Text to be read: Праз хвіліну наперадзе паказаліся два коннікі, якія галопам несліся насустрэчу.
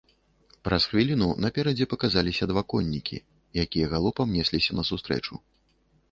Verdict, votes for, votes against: accepted, 2, 0